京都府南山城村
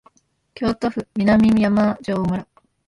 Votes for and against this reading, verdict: 1, 2, rejected